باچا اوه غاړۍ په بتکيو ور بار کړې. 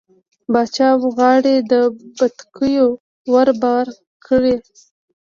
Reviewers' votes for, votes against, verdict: 1, 2, rejected